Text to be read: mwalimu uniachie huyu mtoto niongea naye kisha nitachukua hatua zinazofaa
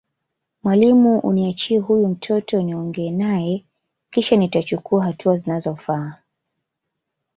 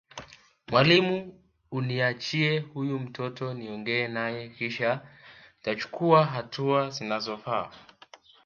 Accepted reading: first